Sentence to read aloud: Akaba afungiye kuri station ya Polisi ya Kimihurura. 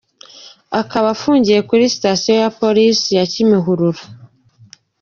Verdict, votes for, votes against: accepted, 2, 0